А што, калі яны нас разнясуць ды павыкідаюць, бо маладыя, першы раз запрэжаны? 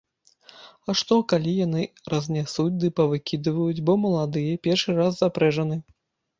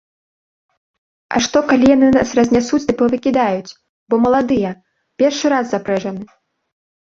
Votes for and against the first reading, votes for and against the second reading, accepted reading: 0, 2, 2, 0, second